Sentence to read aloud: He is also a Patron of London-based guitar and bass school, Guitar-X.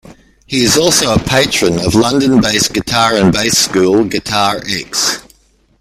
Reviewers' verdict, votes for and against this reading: accepted, 2, 1